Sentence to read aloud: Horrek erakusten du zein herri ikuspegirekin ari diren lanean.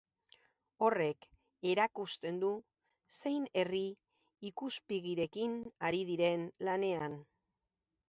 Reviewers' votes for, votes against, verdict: 0, 2, rejected